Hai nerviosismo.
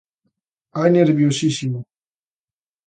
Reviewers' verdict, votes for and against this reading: rejected, 1, 2